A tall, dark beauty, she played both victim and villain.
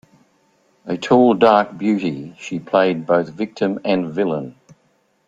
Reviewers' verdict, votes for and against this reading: accepted, 2, 0